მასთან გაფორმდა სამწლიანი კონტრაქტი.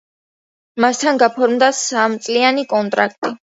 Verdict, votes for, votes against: accepted, 2, 0